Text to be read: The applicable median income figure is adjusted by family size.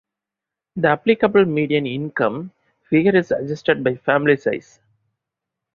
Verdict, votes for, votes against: accepted, 2, 0